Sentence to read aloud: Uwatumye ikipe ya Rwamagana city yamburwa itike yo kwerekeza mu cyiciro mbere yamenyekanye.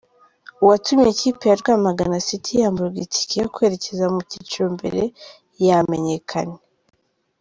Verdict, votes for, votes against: accepted, 2, 1